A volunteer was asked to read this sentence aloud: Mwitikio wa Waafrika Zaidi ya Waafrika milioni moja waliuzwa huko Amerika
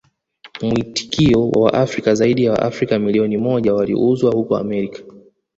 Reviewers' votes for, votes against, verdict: 1, 2, rejected